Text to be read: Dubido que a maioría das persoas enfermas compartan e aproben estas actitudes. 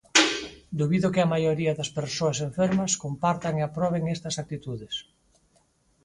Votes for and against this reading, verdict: 4, 0, accepted